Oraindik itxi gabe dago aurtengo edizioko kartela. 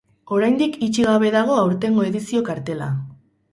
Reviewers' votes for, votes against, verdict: 0, 4, rejected